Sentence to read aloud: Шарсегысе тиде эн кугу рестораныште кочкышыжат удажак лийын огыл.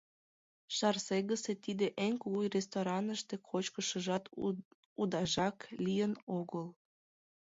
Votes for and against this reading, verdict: 2, 0, accepted